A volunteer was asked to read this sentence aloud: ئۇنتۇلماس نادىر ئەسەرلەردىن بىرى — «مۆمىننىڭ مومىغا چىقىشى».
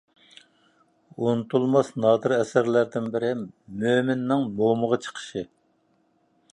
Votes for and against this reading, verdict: 2, 0, accepted